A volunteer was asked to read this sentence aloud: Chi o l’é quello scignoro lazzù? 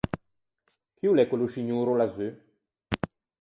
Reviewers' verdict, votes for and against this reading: rejected, 0, 4